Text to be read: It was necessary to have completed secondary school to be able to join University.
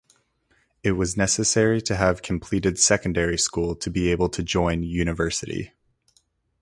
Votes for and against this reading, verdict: 4, 2, accepted